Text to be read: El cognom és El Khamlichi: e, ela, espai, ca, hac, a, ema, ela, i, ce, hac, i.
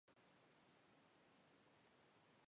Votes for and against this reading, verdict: 0, 2, rejected